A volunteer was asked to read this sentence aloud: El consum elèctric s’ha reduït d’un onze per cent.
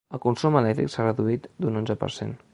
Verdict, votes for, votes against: accepted, 3, 0